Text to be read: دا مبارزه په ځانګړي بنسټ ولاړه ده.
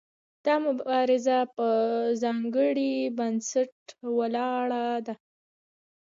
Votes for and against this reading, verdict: 1, 2, rejected